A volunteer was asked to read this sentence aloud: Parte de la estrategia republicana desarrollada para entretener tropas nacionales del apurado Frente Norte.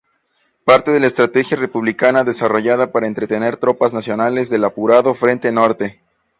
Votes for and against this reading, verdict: 2, 0, accepted